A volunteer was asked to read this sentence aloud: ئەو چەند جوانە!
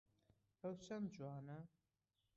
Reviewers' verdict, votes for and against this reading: rejected, 0, 2